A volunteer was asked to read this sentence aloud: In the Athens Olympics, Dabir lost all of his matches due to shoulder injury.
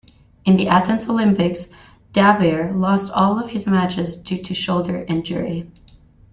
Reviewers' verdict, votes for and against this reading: accepted, 2, 1